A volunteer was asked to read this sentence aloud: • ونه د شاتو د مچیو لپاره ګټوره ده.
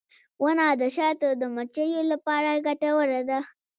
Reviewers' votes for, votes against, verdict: 1, 2, rejected